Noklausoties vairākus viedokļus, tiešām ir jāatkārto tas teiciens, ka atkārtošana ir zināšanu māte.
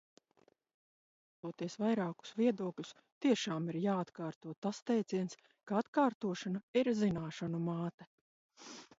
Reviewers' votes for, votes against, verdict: 0, 2, rejected